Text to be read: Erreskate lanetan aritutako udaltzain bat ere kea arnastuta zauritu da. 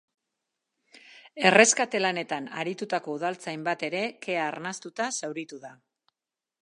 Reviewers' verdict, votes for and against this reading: accepted, 4, 0